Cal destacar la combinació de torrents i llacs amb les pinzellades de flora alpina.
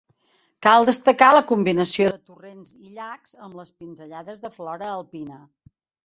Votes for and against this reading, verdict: 1, 2, rejected